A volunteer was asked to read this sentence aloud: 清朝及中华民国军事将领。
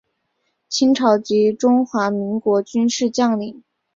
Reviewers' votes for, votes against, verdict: 4, 0, accepted